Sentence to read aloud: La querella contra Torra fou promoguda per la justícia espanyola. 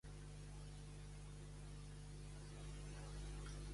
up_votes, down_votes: 0, 2